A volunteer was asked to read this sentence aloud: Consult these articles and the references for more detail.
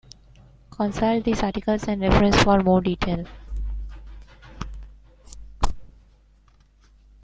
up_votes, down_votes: 0, 2